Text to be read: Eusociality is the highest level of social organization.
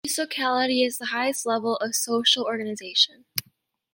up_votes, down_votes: 1, 2